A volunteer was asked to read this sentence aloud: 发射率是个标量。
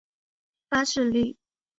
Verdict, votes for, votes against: rejected, 1, 2